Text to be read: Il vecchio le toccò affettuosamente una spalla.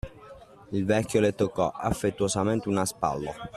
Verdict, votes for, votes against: rejected, 0, 2